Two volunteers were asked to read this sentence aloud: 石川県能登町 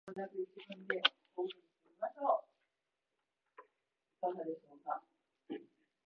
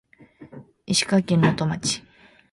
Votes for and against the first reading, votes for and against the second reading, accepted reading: 0, 2, 2, 0, second